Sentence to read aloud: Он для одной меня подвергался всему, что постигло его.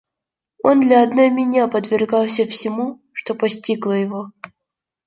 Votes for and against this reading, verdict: 0, 2, rejected